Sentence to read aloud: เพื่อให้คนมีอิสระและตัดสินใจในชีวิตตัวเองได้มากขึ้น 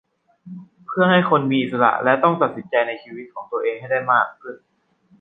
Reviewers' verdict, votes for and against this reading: rejected, 0, 2